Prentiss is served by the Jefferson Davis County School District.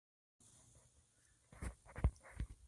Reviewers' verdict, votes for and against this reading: rejected, 0, 2